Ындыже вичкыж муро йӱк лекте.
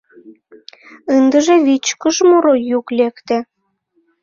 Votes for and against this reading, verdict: 1, 2, rejected